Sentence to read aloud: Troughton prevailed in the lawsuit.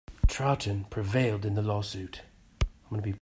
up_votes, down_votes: 2, 0